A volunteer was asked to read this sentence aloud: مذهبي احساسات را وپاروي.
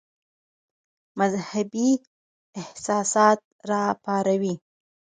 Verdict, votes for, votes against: rejected, 2, 4